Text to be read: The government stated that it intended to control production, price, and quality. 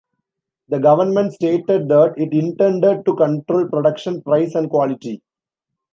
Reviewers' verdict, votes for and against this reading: rejected, 1, 2